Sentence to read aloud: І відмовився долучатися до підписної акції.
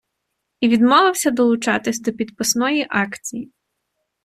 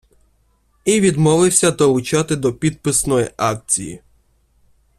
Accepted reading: first